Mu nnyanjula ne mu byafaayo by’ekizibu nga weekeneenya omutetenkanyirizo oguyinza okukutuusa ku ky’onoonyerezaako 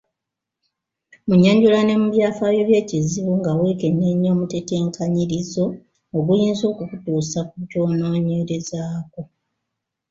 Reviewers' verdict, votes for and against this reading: rejected, 1, 2